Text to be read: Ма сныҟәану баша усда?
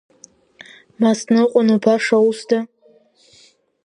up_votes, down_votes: 0, 2